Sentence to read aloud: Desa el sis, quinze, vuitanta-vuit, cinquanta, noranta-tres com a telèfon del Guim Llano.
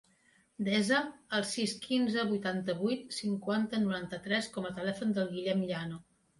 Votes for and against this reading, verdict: 0, 2, rejected